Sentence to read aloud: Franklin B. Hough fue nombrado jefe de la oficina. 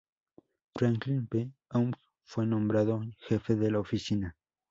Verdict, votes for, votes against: accepted, 2, 0